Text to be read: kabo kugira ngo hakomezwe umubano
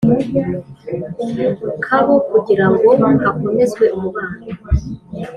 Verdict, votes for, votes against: rejected, 1, 2